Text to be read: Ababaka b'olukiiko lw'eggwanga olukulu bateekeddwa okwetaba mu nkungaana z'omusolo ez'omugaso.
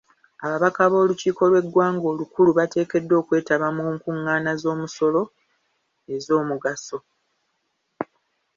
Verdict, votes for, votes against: accepted, 2, 0